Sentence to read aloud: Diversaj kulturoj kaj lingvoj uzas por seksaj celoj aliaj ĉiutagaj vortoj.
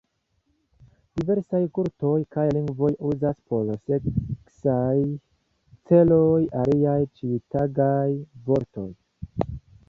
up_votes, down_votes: 2, 1